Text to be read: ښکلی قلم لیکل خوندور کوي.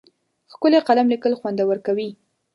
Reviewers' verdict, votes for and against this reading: rejected, 1, 2